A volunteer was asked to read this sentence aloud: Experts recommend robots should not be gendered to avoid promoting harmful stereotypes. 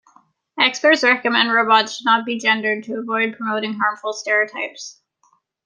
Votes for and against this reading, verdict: 1, 2, rejected